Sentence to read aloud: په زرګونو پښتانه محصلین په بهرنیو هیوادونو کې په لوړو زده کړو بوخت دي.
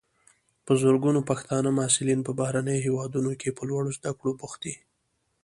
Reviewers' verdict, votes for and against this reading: accepted, 2, 0